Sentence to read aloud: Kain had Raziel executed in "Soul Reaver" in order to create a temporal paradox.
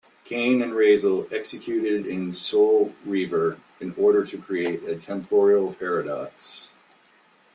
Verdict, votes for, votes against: rejected, 0, 2